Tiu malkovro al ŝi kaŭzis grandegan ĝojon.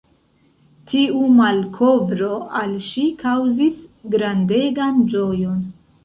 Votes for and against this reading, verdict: 1, 2, rejected